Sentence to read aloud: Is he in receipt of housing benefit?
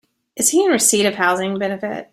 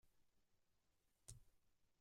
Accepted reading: first